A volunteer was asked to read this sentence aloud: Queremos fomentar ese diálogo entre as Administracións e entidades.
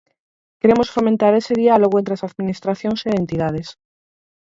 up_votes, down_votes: 2, 4